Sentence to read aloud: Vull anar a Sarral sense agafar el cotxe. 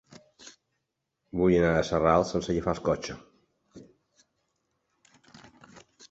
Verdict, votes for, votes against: rejected, 0, 3